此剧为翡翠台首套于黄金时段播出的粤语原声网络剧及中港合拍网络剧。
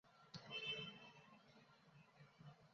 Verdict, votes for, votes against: rejected, 0, 2